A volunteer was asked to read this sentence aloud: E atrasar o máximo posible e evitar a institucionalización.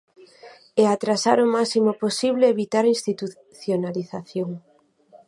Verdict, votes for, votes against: rejected, 0, 4